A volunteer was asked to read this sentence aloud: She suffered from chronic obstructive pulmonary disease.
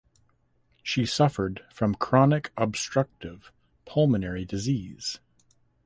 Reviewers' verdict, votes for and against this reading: accepted, 2, 0